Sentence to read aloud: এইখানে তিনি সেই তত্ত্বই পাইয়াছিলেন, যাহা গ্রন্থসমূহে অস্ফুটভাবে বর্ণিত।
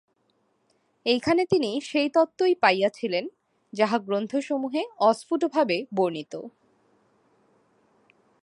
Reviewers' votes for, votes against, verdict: 2, 0, accepted